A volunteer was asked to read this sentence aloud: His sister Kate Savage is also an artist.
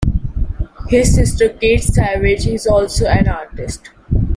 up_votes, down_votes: 2, 0